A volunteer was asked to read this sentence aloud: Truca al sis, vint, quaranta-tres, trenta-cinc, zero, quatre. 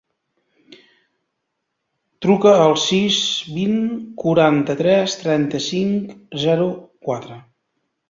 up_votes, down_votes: 2, 0